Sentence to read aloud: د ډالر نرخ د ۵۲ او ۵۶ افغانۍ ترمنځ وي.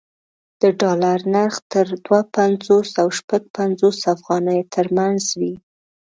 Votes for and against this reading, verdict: 0, 2, rejected